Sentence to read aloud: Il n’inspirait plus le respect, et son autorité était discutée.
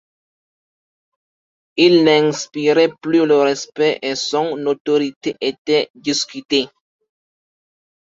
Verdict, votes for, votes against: accepted, 2, 0